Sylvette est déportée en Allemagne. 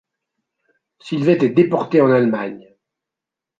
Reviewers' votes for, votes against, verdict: 2, 0, accepted